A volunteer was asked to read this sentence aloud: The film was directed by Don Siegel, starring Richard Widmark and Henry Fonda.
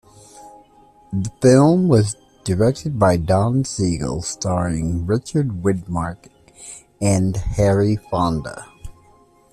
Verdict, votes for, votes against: accepted, 2, 1